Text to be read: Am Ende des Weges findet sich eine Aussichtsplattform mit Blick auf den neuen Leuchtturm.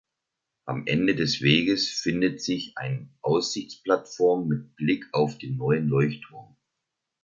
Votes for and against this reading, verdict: 0, 2, rejected